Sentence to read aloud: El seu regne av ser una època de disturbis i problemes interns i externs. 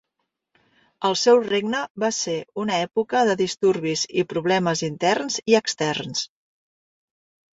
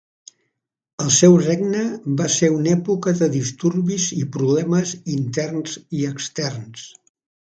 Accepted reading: first